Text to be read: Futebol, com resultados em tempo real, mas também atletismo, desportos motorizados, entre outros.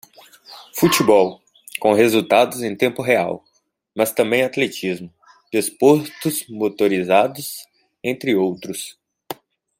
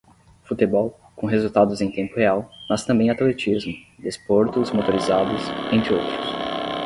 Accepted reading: first